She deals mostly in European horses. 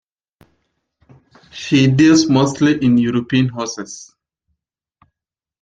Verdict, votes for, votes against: accepted, 2, 0